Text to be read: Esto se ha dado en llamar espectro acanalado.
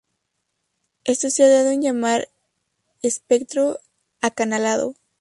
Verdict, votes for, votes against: rejected, 2, 4